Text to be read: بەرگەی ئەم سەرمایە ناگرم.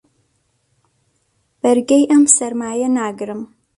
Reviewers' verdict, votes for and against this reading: accepted, 2, 0